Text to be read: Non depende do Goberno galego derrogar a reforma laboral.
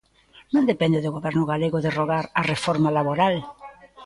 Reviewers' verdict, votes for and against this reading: rejected, 0, 2